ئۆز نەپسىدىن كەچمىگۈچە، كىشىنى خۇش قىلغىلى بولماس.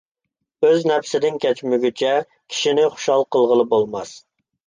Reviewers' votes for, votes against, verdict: 0, 2, rejected